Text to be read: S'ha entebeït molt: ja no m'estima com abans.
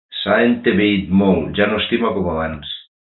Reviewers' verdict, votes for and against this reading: rejected, 0, 2